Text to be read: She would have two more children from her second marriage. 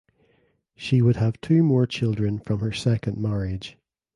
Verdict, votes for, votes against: accepted, 2, 0